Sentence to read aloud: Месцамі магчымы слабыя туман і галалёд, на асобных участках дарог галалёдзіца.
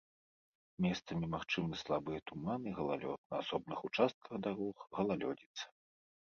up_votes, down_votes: 2, 0